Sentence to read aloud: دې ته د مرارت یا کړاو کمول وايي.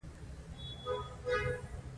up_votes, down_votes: 2, 1